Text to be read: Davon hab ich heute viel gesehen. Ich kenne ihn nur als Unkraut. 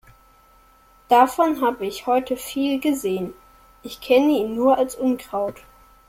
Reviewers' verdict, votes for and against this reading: accepted, 2, 0